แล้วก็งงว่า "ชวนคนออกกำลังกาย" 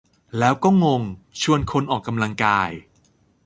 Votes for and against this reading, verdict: 0, 2, rejected